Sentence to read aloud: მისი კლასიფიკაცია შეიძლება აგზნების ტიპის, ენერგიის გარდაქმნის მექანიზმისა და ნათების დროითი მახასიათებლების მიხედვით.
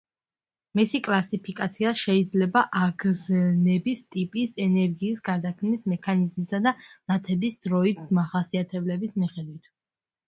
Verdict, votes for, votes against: rejected, 1, 2